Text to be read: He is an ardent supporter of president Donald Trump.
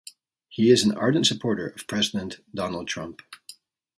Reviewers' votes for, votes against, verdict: 2, 0, accepted